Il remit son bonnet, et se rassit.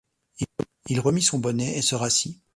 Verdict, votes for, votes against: accepted, 2, 1